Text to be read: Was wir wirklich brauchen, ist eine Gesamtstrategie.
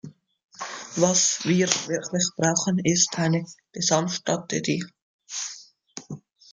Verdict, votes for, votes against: accepted, 2, 0